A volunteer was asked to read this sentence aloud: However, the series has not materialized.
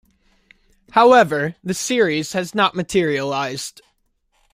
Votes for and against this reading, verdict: 2, 0, accepted